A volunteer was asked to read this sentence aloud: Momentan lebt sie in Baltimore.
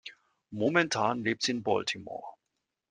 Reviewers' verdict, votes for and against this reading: accepted, 2, 0